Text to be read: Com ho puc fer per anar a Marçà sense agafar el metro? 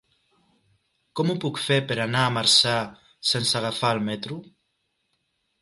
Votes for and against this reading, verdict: 3, 1, accepted